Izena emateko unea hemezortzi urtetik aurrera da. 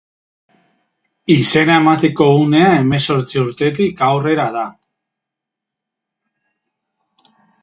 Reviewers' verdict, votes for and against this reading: accepted, 2, 0